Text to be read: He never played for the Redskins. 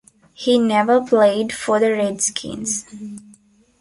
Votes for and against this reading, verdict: 2, 0, accepted